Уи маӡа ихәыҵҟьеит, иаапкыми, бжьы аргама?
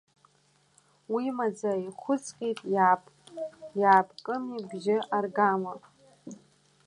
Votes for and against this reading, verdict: 0, 2, rejected